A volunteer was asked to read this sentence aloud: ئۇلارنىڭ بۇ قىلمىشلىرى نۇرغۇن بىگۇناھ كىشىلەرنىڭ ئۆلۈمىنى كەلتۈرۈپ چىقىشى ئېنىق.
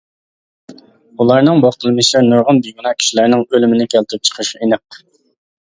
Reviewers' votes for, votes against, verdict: 0, 2, rejected